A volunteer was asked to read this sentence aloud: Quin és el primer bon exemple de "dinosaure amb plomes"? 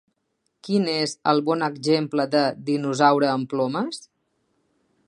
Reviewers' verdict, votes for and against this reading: rejected, 0, 3